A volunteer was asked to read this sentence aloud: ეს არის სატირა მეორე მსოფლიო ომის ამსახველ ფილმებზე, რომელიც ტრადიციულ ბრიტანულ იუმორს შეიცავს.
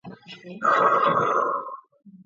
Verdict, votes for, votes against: rejected, 0, 2